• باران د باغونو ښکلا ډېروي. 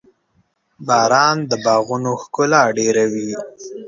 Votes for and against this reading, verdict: 3, 0, accepted